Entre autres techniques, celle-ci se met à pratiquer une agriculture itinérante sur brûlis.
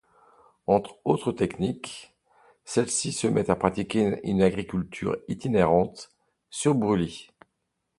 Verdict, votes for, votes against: accepted, 2, 1